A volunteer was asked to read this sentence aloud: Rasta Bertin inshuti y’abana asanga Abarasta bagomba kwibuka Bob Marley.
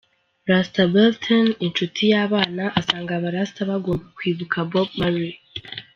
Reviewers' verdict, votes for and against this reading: accepted, 2, 0